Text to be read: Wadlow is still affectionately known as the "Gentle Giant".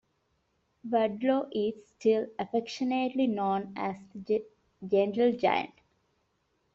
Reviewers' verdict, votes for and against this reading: rejected, 1, 2